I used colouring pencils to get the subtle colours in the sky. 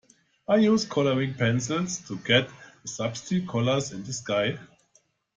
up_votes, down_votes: 0, 2